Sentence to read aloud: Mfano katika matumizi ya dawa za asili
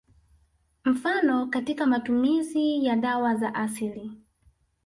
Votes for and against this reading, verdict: 2, 0, accepted